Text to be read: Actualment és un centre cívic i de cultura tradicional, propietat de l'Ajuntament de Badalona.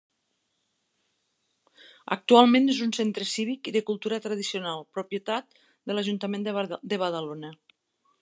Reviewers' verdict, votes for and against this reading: rejected, 0, 2